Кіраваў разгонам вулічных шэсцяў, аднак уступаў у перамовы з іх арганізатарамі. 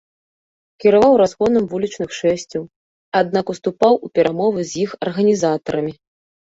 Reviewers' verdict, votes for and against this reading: accepted, 2, 0